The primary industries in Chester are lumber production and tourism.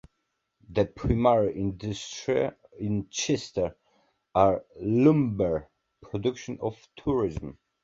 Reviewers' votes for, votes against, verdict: 0, 2, rejected